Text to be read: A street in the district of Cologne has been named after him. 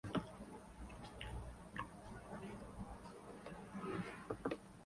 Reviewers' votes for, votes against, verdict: 0, 2, rejected